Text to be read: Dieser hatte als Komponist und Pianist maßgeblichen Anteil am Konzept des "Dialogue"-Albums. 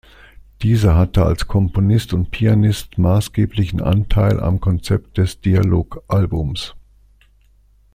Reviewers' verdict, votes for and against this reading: accepted, 2, 0